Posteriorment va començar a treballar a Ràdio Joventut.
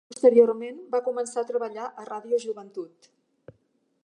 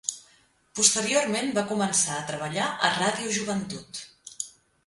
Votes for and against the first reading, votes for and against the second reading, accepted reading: 1, 3, 3, 0, second